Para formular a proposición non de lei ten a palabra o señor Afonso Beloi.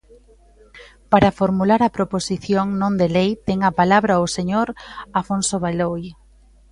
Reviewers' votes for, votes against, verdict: 2, 0, accepted